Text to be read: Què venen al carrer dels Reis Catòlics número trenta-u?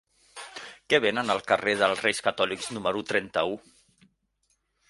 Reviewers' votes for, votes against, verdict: 3, 0, accepted